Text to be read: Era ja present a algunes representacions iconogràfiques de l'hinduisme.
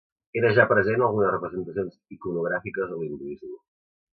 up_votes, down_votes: 1, 2